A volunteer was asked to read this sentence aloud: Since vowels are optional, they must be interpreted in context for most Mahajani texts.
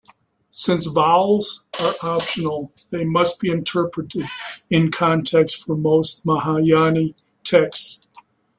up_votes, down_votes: 1, 2